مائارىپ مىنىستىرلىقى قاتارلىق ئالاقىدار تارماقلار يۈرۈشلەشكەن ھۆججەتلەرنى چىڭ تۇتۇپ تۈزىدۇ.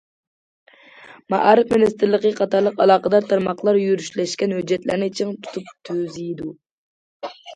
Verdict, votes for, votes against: accepted, 2, 0